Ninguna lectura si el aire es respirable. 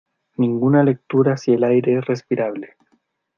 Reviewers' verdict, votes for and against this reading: accepted, 2, 1